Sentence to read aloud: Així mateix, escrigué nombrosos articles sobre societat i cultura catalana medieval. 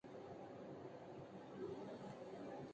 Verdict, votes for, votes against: rejected, 0, 2